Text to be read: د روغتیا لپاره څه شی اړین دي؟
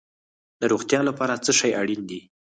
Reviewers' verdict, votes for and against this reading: rejected, 2, 4